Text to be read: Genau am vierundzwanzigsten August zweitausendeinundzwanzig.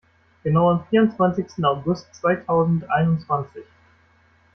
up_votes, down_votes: 2, 1